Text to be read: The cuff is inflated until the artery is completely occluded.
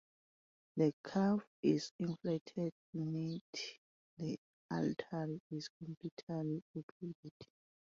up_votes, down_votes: 0, 2